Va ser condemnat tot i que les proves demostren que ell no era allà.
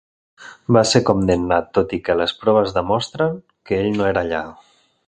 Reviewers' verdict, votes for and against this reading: accepted, 2, 0